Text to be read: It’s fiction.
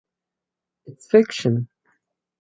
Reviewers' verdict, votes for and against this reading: rejected, 2, 2